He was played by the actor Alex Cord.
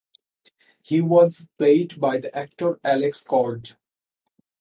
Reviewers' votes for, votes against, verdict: 4, 0, accepted